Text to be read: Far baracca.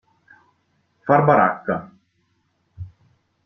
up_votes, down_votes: 2, 0